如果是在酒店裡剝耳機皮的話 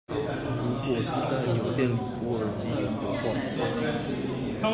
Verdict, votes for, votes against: rejected, 0, 2